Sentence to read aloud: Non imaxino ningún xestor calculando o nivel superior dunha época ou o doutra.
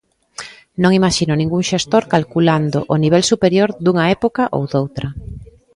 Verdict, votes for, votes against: accepted, 2, 0